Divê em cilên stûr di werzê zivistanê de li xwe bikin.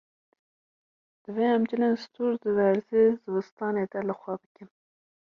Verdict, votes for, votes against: rejected, 1, 2